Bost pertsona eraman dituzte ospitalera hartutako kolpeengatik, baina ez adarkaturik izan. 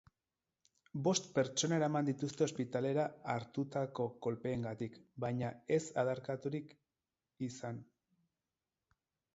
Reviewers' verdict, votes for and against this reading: rejected, 0, 4